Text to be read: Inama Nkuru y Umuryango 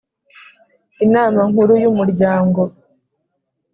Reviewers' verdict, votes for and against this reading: accepted, 4, 0